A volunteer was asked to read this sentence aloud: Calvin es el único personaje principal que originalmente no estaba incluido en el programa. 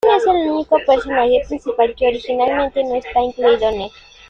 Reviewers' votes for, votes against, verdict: 0, 2, rejected